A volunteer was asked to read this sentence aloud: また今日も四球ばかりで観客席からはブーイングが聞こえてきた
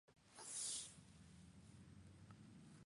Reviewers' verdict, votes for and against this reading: rejected, 0, 2